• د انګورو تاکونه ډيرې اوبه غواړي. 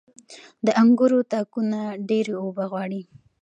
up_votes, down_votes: 2, 0